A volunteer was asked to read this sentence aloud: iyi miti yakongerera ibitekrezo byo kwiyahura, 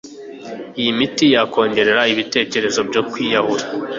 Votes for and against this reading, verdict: 2, 0, accepted